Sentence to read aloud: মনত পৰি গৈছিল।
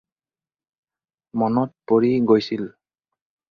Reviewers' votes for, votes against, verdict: 2, 0, accepted